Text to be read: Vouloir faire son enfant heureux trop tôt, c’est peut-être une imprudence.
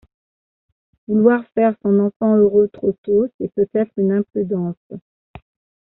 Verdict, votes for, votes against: accepted, 2, 0